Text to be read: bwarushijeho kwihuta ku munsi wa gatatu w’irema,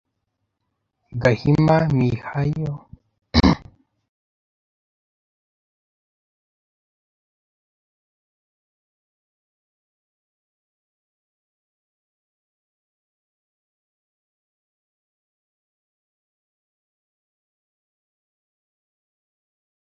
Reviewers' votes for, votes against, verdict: 0, 2, rejected